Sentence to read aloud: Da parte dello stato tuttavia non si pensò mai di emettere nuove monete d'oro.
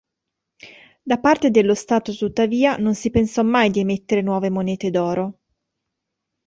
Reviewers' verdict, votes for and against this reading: accepted, 2, 0